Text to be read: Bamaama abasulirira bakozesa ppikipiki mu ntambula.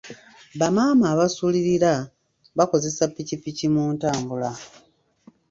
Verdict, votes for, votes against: accepted, 2, 1